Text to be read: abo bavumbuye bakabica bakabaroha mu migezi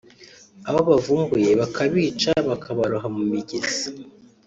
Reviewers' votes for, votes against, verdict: 2, 0, accepted